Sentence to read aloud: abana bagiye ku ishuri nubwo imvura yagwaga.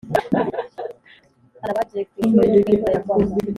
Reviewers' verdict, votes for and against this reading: rejected, 1, 2